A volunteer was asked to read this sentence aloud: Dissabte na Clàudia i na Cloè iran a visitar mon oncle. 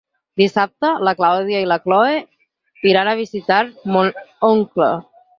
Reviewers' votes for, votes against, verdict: 0, 4, rejected